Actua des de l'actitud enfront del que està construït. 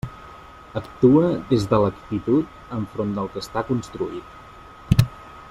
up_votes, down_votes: 3, 1